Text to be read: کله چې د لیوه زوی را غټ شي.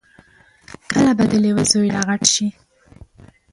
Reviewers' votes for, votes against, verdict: 1, 3, rejected